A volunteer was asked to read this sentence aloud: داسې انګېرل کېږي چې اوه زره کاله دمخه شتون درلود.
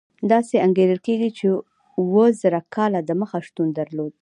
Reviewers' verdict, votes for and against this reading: accepted, 2, 0